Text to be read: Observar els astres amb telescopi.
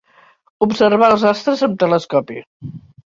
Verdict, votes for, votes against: accepted, 3, 1